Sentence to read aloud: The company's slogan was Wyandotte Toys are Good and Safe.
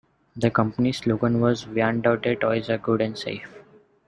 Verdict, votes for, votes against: rejected, 1, 2